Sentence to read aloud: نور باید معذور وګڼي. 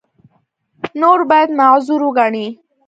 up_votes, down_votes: 2, 0